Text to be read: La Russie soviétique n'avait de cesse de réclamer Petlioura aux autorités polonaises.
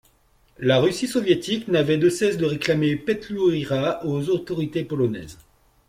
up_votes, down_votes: 2, 1